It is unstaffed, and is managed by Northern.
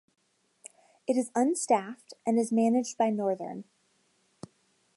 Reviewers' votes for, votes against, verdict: 2, 0, accepted